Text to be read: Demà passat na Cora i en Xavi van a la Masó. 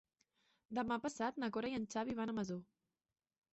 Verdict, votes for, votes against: rejected, 0, 3